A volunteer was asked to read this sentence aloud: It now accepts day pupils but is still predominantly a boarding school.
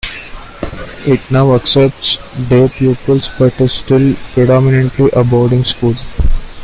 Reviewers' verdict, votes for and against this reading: accepted, 2, 0